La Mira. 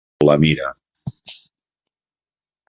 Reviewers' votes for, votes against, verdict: 3, 0, accepted